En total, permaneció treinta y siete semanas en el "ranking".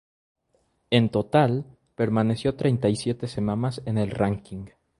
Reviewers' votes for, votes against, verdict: 2, 2, rejected